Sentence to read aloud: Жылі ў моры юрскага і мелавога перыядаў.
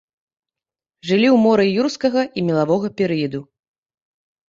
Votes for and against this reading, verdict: 1, 2, rejected